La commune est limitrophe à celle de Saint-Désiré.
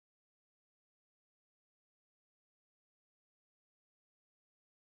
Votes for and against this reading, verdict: 0, 2, rejected